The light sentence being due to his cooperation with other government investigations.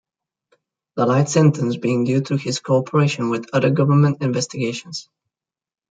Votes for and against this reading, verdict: 2, 0, accepted